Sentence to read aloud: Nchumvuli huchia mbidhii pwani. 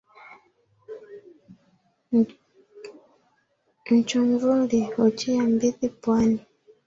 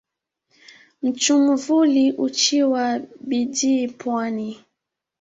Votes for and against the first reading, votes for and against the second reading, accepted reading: 2, 3, 2, 0, second